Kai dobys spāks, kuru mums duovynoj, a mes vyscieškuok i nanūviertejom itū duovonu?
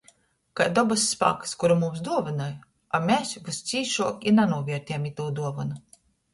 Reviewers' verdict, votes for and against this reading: rejected, 1, 2